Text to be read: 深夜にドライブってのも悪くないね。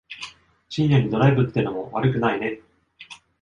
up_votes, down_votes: 2, 0